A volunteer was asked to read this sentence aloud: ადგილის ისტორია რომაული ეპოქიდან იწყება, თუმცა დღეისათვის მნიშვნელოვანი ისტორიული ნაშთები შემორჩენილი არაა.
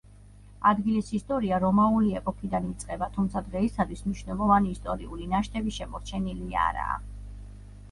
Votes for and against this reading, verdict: 2, 0, accepted